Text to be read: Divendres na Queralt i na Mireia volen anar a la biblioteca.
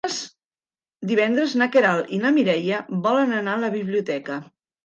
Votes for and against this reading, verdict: 1, 2, rejected